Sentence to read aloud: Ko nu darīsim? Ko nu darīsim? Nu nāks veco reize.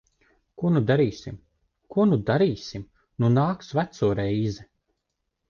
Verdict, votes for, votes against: accepted, 2, 0